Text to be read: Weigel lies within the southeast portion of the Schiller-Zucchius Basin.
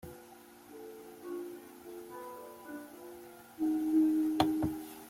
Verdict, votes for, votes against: rejected, 0, 2